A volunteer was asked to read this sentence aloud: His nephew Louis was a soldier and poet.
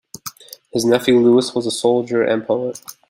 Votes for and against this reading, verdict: 2, 0, accepted